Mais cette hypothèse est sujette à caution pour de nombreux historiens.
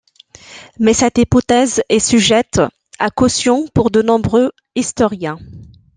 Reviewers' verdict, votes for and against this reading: accepted, 2, 0